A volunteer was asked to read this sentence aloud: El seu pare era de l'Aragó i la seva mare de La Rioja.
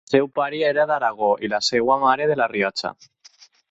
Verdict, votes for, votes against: rejected, 0, 4